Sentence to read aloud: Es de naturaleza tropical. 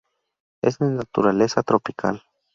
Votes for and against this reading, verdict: 0, 2, rejected